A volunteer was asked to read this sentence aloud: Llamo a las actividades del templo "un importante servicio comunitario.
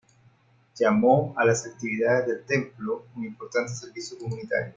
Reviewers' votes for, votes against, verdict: 0, 2, rejected